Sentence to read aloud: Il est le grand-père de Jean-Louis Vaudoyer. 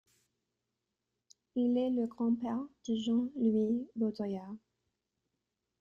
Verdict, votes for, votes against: rejected, 1, 2